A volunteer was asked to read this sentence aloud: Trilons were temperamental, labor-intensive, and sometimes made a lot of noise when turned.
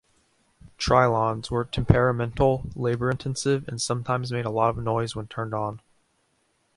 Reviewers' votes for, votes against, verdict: 0, 2, rejected